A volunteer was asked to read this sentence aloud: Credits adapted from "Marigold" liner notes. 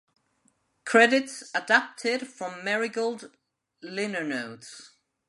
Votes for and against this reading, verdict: 1, 2, rejected